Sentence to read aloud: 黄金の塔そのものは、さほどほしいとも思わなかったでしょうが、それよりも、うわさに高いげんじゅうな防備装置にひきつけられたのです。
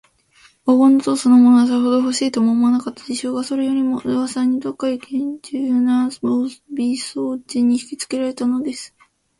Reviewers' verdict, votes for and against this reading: rejected, 1, 2